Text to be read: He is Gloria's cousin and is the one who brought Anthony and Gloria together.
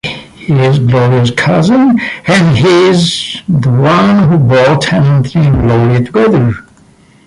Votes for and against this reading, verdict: 0, 2, rejected